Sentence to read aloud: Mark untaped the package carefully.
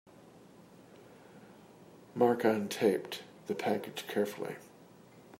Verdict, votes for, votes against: accepted, 2, 0